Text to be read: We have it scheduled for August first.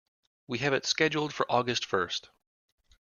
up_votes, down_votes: 2, 0